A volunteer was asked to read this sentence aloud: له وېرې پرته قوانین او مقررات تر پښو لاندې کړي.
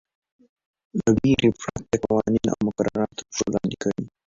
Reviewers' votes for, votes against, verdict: 2, 1, accepted